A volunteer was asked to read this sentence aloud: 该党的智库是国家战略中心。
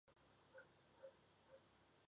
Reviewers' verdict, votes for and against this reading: accepted, 4, 0